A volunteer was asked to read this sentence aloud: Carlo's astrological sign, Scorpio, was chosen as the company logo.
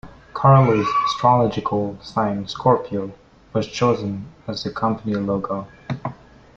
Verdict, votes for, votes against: rejected, 0, 2